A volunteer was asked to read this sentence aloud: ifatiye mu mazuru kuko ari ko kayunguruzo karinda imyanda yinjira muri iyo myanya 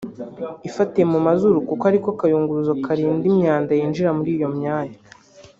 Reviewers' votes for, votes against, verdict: 2, 0, accepted